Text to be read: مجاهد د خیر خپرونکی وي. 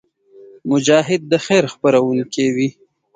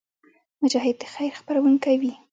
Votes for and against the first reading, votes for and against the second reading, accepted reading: 2, 0, 1, 2, first